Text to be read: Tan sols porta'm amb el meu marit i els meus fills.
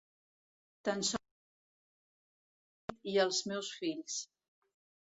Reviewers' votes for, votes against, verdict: 0, 2, rejected